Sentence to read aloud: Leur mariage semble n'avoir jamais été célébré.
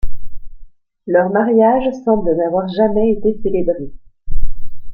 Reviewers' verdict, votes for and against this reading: accepted, 2, 0